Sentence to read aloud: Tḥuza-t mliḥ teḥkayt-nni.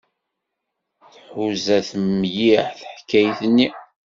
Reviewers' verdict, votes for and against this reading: accepted, 2, 0